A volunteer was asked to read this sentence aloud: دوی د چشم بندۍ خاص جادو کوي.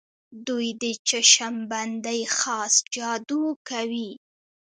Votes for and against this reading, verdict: 1, 2, rejected